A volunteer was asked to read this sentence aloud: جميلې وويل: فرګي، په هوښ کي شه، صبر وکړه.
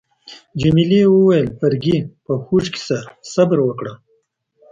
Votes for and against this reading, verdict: 2, 0, accepted